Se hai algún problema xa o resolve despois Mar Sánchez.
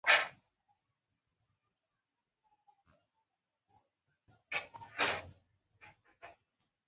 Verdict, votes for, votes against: rejected, 0, 2